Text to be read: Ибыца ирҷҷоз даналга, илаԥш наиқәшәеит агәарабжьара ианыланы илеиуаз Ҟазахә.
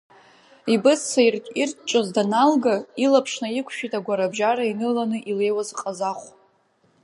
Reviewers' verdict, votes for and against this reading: rejected, 1, 2